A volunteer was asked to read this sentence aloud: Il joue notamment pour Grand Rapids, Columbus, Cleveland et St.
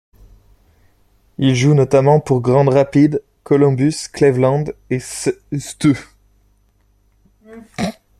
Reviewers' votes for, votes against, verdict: 1, 2, rejected